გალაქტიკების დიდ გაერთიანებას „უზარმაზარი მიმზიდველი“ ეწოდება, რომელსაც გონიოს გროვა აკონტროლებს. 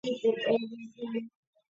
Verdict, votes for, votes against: rejected, 1, 2